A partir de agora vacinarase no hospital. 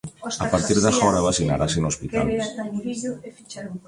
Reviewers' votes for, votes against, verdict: 0, 2, rejected